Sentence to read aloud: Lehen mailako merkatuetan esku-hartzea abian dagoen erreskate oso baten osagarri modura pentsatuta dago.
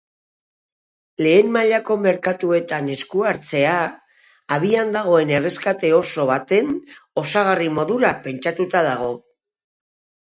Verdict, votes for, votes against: accepted, 2, 0